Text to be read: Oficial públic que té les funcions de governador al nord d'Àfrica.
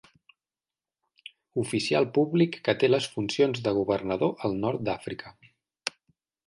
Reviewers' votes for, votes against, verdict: 5, 0, accepted